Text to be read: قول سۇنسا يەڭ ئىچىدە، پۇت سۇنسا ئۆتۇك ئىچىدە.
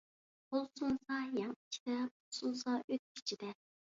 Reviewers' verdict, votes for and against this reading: accepted, 2, 1